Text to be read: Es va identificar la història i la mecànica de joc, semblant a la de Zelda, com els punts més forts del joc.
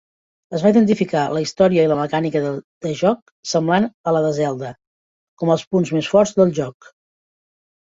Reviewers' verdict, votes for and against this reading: rejected, 0, 3